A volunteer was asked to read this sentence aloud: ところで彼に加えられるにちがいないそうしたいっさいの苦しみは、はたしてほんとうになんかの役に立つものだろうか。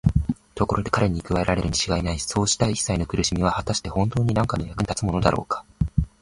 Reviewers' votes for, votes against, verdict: 17, 2, accepted